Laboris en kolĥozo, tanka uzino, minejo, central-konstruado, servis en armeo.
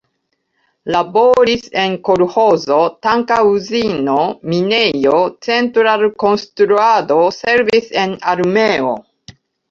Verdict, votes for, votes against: rejected, 0, 2